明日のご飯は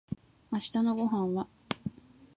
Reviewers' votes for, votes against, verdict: 2, 0, accepted